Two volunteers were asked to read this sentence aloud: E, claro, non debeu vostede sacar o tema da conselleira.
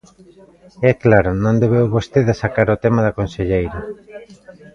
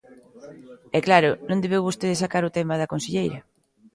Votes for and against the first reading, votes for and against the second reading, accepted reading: 1, 2, 2, 0, second